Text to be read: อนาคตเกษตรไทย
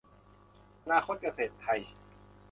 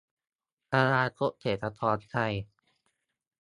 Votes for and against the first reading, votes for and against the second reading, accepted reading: 2, 0, 0, 2, first